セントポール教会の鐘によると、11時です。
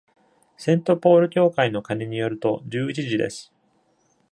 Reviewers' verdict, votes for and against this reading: rejected, 0, 2